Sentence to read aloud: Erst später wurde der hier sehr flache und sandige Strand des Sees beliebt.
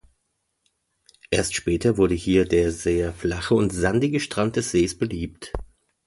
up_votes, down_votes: 0, 2